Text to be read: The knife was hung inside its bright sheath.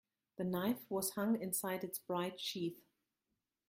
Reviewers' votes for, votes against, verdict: 1, 2, rejected